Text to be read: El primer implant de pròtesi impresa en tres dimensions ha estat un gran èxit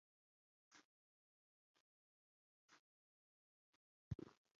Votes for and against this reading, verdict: 0, 2, rejected